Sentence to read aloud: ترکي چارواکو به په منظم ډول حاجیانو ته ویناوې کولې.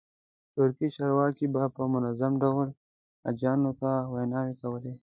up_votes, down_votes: 2, 0